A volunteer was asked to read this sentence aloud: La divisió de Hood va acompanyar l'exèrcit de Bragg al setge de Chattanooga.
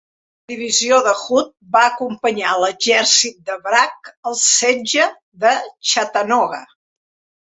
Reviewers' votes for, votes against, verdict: 0, 2, rejected